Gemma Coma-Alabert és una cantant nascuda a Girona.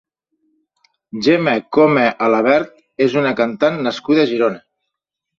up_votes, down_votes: 2, 0